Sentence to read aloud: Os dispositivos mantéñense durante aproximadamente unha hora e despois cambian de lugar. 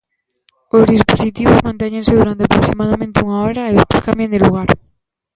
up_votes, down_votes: 1, 2